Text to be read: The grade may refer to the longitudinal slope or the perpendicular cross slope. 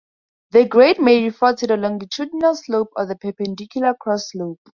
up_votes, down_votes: 0, 2